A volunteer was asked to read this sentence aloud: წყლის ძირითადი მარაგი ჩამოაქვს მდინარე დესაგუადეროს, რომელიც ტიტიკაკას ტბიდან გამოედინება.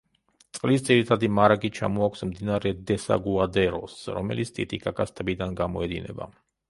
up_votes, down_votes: 2, 0